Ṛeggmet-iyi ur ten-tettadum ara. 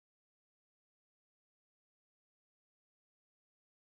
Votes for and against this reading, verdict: 0, 2, rejected